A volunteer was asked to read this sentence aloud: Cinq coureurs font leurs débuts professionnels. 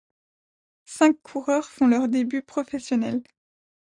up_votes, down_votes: 2, 0